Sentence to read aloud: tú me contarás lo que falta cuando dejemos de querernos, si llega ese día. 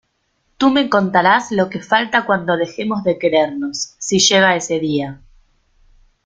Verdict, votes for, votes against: accepted, 2, 0